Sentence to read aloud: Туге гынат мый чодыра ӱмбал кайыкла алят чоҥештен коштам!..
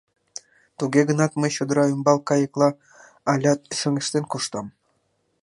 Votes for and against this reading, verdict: 2, 0, accepted